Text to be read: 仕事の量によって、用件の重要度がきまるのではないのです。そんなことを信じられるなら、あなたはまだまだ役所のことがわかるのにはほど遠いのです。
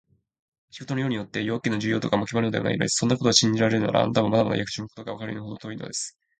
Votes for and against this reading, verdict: 1, 2, rejected